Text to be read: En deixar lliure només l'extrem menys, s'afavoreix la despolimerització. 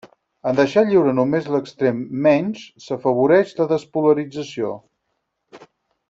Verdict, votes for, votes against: rejected, 0, 4